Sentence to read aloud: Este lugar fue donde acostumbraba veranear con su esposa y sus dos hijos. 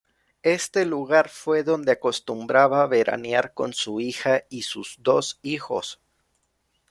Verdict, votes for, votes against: rejected, 0, 2